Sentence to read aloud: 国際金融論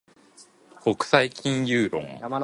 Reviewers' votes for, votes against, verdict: 2, 0, accepted